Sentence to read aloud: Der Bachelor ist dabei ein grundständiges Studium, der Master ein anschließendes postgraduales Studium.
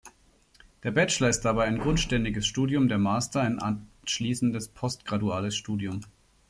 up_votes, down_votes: 1, 2